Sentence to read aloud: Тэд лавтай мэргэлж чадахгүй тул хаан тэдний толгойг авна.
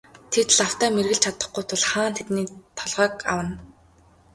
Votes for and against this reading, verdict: 1, 2, rejected